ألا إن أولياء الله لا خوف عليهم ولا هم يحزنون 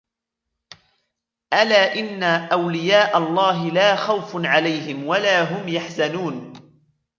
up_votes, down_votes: 3, 0